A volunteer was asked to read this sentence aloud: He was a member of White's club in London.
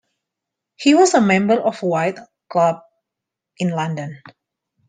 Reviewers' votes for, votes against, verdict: 0, 2, rejected